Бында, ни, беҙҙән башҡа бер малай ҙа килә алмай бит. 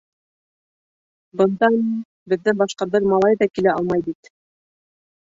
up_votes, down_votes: 0, 2